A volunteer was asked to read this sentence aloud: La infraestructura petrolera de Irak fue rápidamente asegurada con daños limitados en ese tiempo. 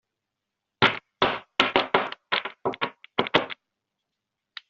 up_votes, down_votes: 0, 2